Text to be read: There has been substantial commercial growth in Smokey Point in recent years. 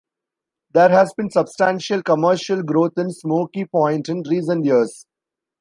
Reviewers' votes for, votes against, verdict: 2, 0, accepted